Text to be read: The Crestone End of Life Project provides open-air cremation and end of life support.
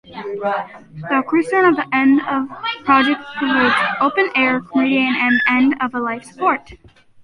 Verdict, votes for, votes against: rejected, 0, 2